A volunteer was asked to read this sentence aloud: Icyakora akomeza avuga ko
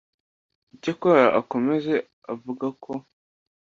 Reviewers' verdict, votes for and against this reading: rejected, 1, 2